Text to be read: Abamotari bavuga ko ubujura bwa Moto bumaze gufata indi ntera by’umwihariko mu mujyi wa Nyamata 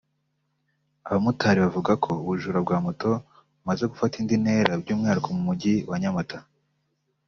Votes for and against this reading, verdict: 2, 0, accepted